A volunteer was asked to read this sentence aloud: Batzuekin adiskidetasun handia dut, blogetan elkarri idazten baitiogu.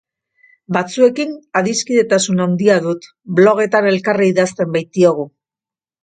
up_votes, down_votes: 2, 0